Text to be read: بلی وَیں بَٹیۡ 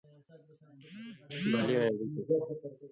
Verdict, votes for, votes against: rejected, 1, 2